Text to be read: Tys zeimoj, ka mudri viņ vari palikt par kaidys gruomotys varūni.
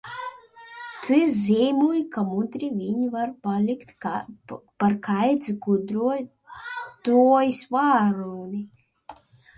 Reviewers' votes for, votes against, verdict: 0, 2, rejected